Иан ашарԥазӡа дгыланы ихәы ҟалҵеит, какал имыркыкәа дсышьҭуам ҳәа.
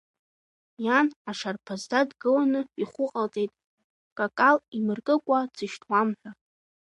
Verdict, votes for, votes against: accepted, 2, 1